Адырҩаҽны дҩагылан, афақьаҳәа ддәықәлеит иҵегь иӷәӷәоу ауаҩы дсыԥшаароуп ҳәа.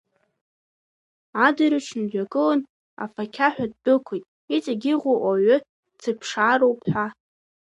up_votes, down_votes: 0, 2